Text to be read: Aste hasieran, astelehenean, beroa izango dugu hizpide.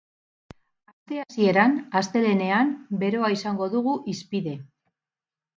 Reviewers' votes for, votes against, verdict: 4, 6, rejected